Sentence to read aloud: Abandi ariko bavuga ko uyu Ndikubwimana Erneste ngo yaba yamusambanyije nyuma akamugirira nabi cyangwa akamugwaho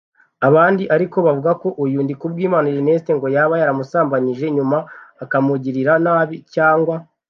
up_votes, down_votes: 0, 2